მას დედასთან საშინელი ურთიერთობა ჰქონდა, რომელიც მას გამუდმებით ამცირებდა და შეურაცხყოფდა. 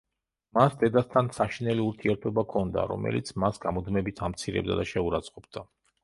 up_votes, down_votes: 0, 2